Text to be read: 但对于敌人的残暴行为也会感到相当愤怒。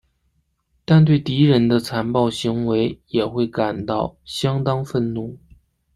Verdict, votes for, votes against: rejected, 0, 2